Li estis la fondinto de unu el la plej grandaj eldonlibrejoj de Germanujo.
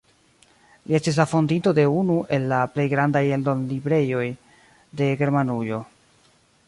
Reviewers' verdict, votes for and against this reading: rejected, 0, 2